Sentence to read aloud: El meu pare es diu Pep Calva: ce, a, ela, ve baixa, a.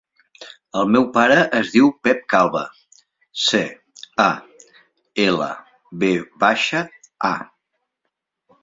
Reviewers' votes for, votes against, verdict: 2, 0, accepted